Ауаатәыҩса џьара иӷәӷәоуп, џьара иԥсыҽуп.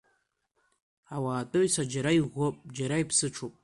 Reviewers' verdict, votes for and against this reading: accepted, 2, 1